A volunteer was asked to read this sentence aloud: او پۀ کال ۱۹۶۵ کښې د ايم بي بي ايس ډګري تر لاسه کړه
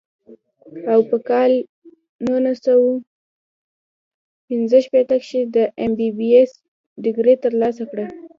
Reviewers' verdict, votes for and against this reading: rejected, 0, 2